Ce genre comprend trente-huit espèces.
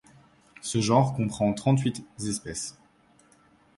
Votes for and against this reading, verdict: 1, 2, rejected